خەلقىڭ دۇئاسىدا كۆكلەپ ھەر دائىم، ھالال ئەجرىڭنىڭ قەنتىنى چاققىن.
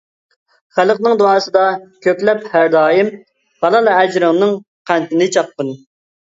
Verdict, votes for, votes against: accepted, 2, 0